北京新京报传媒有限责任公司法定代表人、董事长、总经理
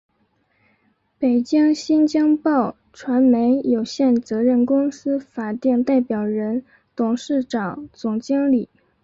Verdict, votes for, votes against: accepted, 4, 0